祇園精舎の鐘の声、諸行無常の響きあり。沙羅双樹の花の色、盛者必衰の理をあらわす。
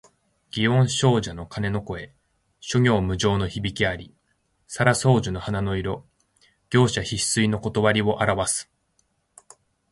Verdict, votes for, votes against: accepted, 2, 0